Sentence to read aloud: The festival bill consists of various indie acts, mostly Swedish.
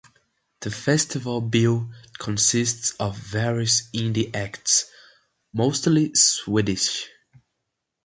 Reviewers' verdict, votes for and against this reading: accepted, 2, 1